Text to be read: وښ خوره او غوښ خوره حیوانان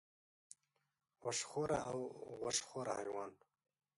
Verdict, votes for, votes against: rejected, 1, 4